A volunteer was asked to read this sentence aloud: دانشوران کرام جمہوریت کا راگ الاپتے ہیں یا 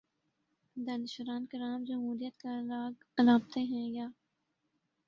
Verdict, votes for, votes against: accepted, 2, 1